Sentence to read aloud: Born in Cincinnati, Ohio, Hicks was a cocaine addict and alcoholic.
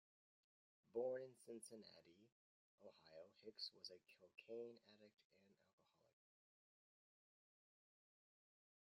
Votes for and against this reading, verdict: 0, 2, rejected